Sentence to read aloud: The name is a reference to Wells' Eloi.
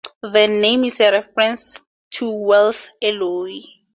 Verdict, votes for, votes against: accepted, 2, 0